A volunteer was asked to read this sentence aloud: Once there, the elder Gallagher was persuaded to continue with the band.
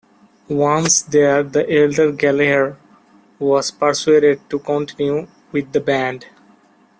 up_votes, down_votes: 0, 2